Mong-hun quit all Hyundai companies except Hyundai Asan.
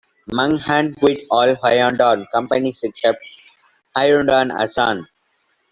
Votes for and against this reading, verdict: 0, 2, rejected